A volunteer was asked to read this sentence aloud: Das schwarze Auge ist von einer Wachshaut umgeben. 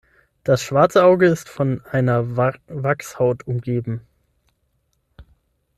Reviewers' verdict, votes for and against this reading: rejected, 0, 6